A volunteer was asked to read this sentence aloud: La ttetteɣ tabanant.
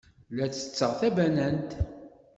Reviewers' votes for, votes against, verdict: 2, 0, accepted